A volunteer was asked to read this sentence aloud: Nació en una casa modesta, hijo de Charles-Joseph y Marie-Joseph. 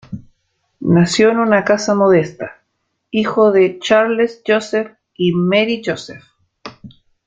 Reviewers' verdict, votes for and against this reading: accepted, 2, 0